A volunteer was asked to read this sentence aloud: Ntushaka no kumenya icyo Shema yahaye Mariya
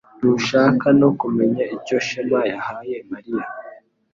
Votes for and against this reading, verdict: 2, 0, accepted